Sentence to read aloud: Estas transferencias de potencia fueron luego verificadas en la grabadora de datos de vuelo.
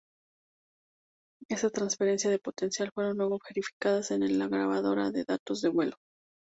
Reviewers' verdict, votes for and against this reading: rejected, 0, 2